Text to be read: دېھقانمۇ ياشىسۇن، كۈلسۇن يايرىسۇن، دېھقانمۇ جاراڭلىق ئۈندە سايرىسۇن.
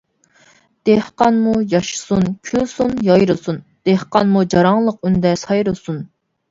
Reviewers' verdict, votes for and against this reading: accepted, 2, 0